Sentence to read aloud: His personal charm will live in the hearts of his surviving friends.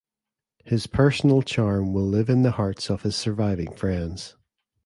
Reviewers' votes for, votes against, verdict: 2, 0, accepted